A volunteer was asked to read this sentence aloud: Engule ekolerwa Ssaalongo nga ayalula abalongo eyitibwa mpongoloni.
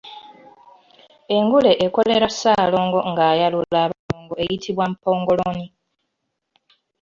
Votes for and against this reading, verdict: 0, 2, rejected